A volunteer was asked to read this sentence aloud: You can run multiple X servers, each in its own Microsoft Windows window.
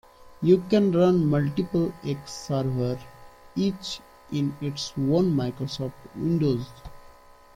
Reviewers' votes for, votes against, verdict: 1, 2, rejected